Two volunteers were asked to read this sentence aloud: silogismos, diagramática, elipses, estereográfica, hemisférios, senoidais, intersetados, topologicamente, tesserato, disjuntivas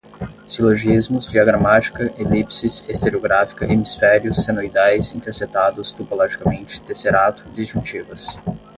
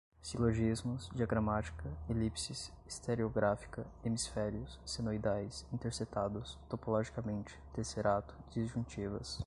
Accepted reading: second